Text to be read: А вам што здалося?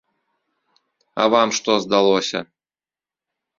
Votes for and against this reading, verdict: 2, 0, accepted